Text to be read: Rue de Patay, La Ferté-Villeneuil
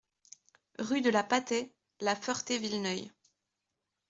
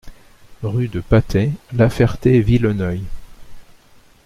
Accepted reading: second